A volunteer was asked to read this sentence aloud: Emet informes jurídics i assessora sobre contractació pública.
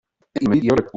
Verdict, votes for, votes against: rejected, 0, 2